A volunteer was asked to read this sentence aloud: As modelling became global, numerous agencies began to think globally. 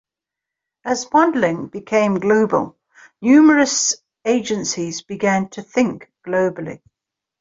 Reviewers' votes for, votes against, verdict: 2, 0, accepted